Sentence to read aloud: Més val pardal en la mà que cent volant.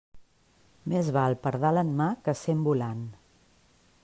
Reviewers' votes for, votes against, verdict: 1, 2, rejected